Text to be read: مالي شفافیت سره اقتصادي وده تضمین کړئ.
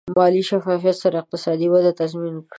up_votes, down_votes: 2, 0